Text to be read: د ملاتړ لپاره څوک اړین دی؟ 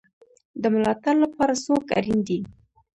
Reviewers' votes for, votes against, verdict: 2, 1, accepted